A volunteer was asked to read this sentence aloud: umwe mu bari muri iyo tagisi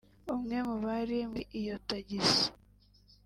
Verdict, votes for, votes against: rejected, 1, 2